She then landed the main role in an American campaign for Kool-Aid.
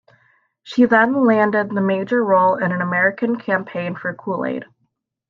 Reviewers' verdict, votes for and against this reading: rejected, 0, 2